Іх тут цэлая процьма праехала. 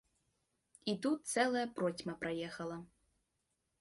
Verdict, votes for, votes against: rejected, 0, 2